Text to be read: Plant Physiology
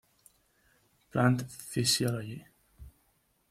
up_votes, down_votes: 1, 2